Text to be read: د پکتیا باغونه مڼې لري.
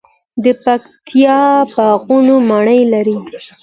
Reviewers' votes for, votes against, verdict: 2, 0, accepted